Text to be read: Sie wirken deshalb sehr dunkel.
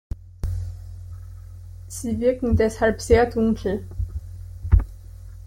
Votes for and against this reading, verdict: 2, 1, accepted